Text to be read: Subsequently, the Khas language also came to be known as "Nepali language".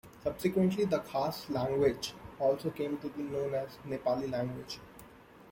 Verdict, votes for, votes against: accepted, 2, 0